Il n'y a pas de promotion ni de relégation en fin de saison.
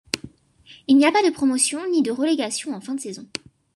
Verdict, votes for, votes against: accepted, 3, 0